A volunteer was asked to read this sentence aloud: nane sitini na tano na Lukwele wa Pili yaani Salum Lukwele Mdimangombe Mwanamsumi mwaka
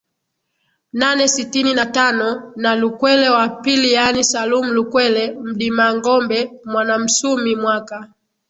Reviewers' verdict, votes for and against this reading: accepted, 13, 2